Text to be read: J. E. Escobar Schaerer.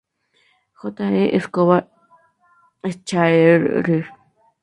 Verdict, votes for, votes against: accepted, 4, 0